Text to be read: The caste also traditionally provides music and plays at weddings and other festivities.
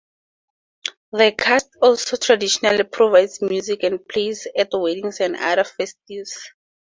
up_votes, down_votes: 2, 2